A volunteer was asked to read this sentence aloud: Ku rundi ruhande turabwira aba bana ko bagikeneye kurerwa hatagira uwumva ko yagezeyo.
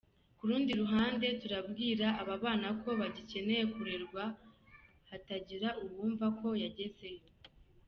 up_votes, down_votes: 3, 1